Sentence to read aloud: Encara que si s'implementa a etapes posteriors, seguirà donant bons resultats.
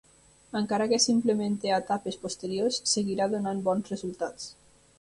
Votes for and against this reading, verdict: 1, 2, rejected